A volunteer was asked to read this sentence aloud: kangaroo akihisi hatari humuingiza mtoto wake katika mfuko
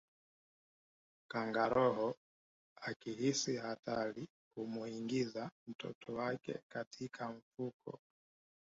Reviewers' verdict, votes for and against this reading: accepted, 2, 1